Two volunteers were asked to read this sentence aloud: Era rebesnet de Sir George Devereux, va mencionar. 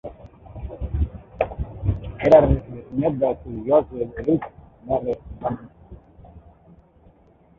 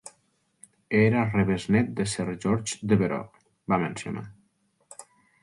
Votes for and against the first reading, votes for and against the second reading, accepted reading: 0, 4, 2, 0, second